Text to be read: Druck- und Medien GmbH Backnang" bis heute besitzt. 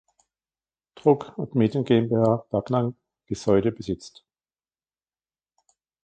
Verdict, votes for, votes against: rejected, 1, 2